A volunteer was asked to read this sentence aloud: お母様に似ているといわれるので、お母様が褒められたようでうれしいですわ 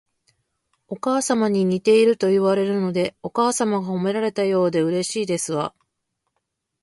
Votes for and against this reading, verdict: 2, 0, accepted